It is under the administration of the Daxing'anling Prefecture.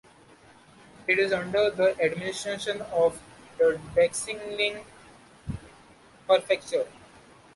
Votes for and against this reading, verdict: 0, 2, rejected